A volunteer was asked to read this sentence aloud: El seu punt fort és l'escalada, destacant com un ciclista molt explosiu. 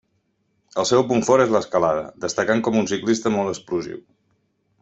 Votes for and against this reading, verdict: 3, 1, accepted